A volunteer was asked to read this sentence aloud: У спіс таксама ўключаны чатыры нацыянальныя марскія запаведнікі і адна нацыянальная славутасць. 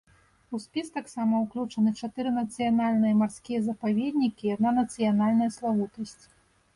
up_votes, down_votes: 2, 0